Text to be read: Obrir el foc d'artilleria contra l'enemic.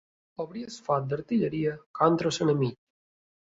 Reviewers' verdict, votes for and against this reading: accepted, 2, 0